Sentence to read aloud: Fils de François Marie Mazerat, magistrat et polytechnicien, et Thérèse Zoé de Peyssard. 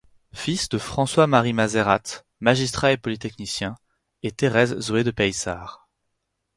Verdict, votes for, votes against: rejected, 0, 4